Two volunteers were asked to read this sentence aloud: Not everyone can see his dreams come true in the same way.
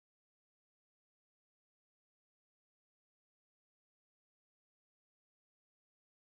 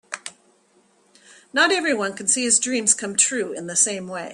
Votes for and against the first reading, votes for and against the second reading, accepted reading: 0, 2, 7, 0, second